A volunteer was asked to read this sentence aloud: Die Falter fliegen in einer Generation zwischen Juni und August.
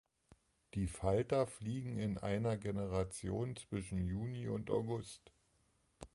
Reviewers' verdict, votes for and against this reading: accepted, 2, 0